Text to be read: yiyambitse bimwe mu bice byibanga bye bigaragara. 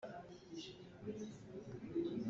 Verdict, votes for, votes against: rejected, 0, 3